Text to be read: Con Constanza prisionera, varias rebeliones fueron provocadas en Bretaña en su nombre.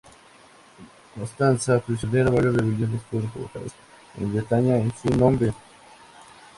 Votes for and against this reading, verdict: 2, 4, rejected